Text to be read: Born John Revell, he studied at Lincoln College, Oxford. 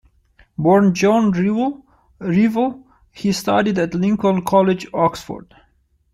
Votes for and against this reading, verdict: 0, 2, rejected